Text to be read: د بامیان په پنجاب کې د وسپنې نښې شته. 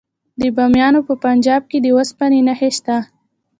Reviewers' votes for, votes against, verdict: 2, 0, accepted